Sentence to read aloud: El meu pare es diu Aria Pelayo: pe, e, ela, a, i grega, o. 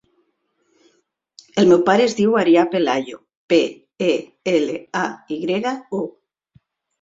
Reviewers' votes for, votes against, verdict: 2, 0, accepted